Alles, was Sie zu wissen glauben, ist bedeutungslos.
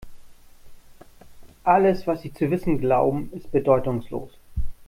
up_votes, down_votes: 2, 1